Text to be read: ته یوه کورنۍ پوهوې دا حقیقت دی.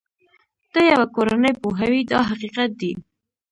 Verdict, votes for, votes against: rejected, 1, 2